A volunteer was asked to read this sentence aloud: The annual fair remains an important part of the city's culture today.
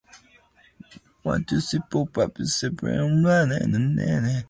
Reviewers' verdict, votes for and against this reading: rejected, 0, 2